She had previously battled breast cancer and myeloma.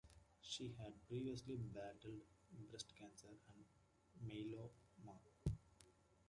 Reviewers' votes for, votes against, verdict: 1, 2, rejected